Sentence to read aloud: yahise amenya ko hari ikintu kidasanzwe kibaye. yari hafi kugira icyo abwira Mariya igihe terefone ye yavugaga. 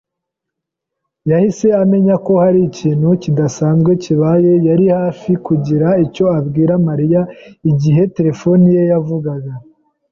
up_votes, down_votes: 2, 0